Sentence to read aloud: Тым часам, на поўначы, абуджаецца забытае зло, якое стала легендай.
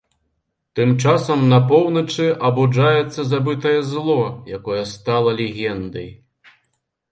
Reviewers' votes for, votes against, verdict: 3, 0, accepted